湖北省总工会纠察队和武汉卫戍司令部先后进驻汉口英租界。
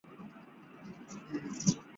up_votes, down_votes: 0, 5